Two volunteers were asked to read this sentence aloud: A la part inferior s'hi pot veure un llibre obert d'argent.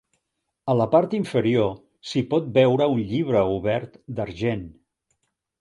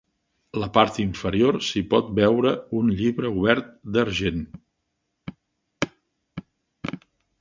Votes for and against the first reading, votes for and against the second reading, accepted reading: 3, 0, 0, 2, first